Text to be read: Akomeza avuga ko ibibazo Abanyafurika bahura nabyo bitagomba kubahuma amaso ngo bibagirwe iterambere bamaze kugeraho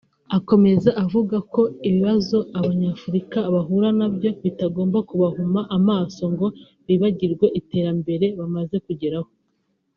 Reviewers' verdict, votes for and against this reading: rejected, 0, 2